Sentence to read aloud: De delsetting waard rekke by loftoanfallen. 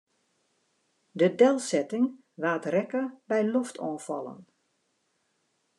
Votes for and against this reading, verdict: 2, 0, accepted